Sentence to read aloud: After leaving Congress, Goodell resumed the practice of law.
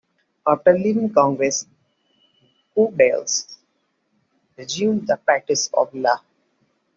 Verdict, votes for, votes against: rejected, 0, 2